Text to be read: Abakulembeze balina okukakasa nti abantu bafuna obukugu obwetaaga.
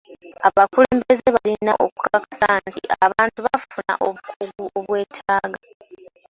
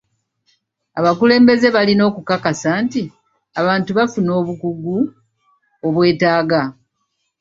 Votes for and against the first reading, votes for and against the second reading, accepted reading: 0, 2, 2, 0, second